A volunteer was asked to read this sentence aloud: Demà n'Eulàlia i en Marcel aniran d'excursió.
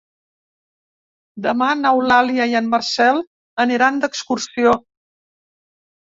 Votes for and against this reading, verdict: 3, 0, accepted